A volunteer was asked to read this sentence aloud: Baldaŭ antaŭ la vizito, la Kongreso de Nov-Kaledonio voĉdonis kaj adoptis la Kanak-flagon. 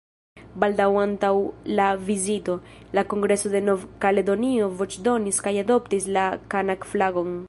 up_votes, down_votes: 1, 2